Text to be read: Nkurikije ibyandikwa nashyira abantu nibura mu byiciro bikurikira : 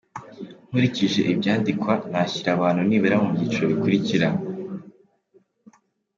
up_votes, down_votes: 3, 0